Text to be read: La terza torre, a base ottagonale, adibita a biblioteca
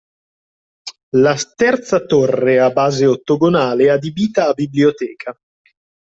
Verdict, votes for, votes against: rejected, 0, 2